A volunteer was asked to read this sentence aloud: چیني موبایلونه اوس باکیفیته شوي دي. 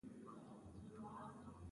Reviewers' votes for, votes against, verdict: 0, 2, rejected